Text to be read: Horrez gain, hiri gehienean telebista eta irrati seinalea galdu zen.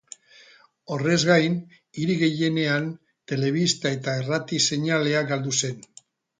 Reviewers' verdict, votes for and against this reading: rejected, 2, 2